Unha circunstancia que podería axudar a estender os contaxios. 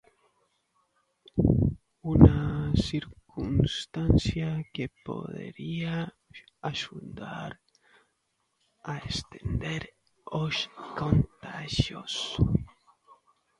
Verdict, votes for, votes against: rejected, 0, 2